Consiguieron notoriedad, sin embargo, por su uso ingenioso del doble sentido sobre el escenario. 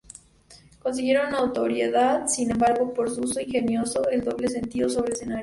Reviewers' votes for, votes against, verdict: 0, 2, rejected